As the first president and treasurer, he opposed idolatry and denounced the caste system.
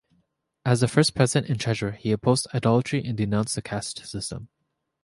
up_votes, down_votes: 2, 0